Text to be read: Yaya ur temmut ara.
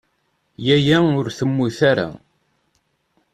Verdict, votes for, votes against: accepted, 2, 0